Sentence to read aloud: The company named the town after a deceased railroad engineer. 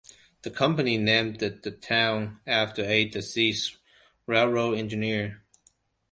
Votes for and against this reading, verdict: 2, 1, accepted